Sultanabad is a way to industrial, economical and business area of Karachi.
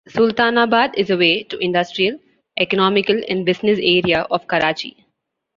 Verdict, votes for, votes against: accepted, 2, 0